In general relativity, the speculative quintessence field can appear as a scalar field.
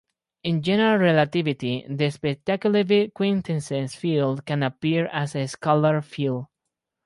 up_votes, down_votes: 2, 2